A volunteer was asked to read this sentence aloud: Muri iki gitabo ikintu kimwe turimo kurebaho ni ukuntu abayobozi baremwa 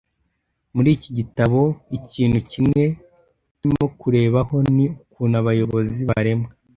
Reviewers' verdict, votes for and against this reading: accepted, 2, 0